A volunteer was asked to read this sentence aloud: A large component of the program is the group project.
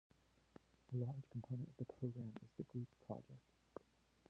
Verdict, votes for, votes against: rejected, 0, 2